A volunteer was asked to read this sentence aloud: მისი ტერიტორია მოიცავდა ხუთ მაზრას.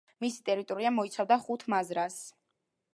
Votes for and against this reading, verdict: 2, 0, accepted